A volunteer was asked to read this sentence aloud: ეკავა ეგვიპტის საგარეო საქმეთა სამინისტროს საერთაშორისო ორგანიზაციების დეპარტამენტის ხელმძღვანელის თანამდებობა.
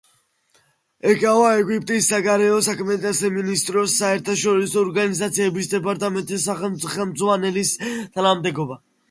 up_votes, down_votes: 0, 2